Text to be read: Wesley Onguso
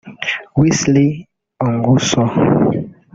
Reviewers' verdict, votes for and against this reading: rejected, 0, 2